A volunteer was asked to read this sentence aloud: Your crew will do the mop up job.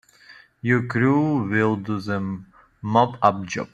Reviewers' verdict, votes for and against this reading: accepted, 3, 0